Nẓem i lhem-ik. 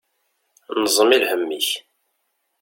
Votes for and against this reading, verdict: 2, 0, accepted